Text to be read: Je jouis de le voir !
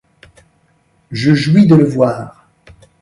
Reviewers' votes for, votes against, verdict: 2, 0, accepted